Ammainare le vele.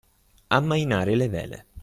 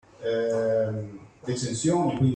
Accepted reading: first